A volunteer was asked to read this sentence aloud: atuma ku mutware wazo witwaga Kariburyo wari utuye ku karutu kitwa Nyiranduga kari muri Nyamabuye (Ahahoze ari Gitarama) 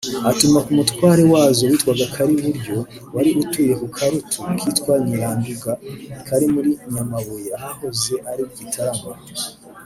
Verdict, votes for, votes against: rejected, 0, 2